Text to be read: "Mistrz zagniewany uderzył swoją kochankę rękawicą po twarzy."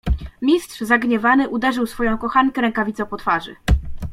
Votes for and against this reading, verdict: 2, 0, accepted